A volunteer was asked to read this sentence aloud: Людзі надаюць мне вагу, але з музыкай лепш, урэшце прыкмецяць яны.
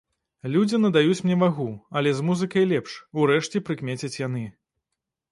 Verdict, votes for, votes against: rejected, 1, 2